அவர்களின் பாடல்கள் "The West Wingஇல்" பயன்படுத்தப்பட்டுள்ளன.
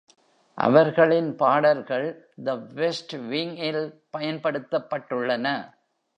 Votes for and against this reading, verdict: 2, 0, accepted